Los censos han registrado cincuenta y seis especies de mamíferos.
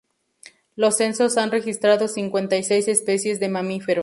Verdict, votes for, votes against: rejected, 0, 2